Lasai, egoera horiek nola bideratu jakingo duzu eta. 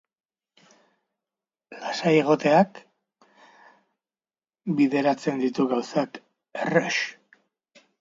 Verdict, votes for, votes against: rejected, 0, 3